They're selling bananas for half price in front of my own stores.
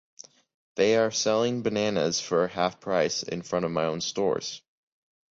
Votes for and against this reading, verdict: 3, 1, accepted